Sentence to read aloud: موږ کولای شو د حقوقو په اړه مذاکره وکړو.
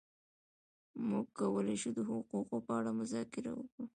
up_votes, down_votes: 2, 1